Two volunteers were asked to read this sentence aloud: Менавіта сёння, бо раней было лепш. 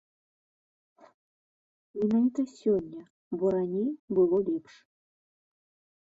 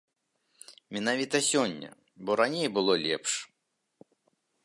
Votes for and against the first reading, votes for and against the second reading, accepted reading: 1, 2, 2, 1, second